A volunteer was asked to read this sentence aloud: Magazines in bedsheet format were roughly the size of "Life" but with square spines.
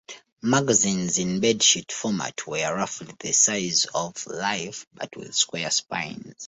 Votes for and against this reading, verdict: 2, 0, accepted